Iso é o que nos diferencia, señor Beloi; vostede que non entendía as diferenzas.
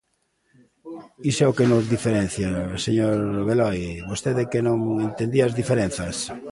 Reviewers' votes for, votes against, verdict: 0, 2, rejected